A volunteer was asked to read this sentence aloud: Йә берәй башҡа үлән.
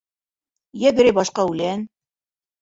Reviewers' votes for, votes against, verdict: 0, 2, rejected